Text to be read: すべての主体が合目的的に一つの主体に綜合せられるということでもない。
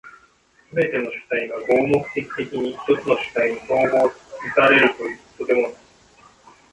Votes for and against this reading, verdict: 2, 0, accepted